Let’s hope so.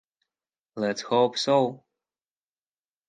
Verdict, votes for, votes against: accepted, 16, 0